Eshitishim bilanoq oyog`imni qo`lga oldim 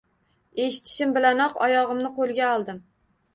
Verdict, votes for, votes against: rejected, 1, 2